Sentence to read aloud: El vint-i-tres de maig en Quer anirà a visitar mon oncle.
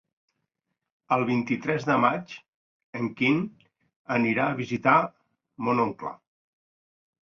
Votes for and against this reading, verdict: 0, 2, rejected